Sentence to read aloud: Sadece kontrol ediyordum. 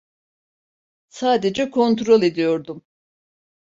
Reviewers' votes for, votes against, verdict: 2, 0, accepted